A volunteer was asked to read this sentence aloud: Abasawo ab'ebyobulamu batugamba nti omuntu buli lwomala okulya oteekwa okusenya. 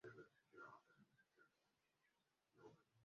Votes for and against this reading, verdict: 0, 2, rejected